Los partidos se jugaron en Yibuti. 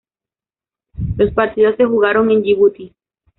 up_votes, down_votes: 0, 2